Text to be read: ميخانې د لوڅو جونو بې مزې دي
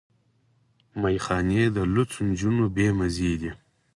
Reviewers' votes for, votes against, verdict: 2, 4, rejected